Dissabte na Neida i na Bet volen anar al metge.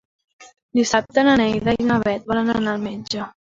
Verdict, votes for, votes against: rejected, 0, 2